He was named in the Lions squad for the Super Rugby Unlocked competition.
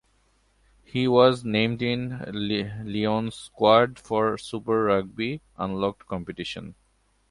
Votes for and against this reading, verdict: 0, 2, rejected